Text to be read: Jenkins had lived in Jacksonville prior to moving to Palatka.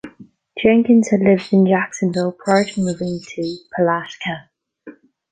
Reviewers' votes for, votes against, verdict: 1, 2, rejected